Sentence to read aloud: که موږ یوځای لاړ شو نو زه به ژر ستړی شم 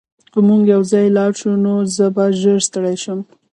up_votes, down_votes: 1, 2